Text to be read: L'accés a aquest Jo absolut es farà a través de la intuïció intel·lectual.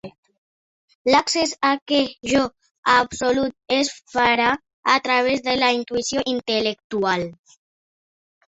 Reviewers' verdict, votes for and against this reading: rejected, 1, 2